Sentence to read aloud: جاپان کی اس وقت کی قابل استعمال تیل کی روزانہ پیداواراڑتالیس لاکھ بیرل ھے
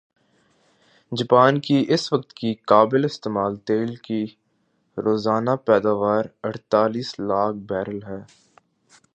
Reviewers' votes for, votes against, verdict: 2, 1, accepted